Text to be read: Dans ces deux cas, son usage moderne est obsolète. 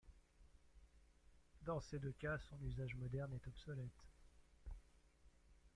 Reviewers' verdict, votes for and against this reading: accepted, 2, 0